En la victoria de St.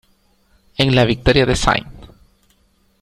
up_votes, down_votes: 2, 0